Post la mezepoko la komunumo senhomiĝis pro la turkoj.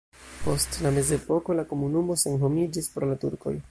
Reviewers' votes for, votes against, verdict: 2, 0, accepted